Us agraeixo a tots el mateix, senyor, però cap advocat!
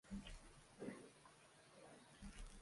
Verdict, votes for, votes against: rejected, 0, 2